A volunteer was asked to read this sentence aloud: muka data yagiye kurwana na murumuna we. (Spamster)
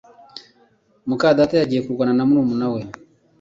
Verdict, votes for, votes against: accepted, 2, 1